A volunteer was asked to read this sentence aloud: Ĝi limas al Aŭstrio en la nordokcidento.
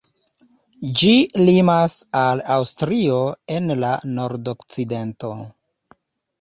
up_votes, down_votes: 2, 1